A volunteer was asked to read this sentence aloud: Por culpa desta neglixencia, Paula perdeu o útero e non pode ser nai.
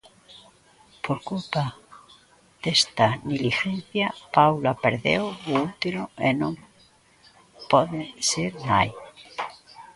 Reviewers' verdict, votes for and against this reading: rejected, 0, 2